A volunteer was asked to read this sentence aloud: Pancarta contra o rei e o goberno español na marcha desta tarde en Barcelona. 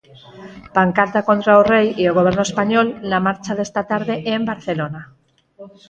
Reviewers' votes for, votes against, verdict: 0, 4, rejected